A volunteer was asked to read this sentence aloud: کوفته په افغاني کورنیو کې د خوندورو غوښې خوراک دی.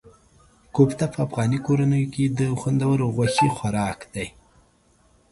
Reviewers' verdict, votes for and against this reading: accepted, 2, 0